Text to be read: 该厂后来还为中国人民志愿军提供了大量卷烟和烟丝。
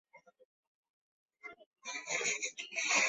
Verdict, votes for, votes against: rejected, 0, 4